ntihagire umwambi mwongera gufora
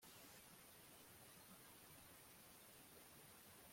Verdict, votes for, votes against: rejected, 0, 2